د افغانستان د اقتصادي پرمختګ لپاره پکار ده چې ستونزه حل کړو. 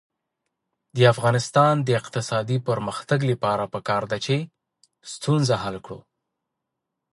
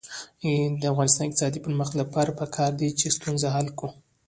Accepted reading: first